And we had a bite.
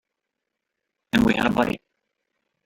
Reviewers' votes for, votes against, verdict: 1, 3, rejected